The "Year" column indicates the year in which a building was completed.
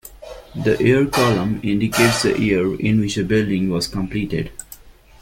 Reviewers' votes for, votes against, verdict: 2, 0, accepted